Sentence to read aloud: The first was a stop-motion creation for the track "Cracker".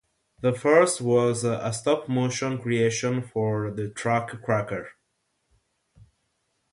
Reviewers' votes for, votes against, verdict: 6, 0, accepted